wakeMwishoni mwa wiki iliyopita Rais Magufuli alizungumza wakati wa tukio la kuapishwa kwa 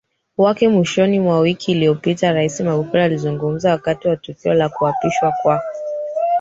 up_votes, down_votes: 1, 3